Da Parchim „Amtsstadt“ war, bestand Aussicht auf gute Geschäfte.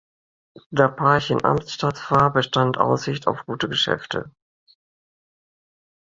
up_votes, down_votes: 2, 0